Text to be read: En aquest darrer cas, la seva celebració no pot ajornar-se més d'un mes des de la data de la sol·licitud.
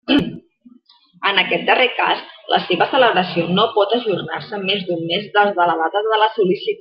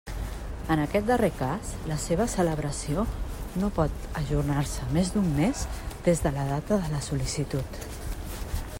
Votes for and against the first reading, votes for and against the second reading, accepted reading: 0, 2, 3, 0, second